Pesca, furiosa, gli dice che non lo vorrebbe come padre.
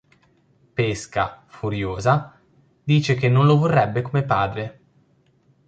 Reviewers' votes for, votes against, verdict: 1, 2, rejected